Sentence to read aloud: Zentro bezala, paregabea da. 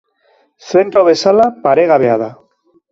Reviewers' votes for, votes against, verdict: 3, 0, accepted